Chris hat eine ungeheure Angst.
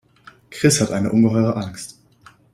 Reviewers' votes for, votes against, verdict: 2, 0, accepted